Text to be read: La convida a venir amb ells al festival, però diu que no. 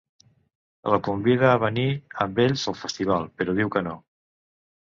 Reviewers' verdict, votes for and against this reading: accepted, 3, 0